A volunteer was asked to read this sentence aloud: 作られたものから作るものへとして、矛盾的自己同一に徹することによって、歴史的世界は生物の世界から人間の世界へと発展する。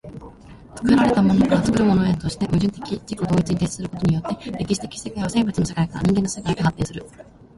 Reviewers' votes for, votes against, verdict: 1, 2, rejected